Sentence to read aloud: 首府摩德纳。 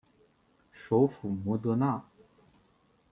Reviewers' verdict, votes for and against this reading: accepted, 2, 0